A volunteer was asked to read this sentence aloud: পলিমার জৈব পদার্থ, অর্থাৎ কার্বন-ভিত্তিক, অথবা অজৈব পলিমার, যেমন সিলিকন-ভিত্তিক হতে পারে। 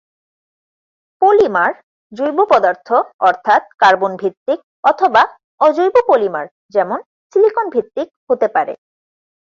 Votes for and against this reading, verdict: 4, 0, accepted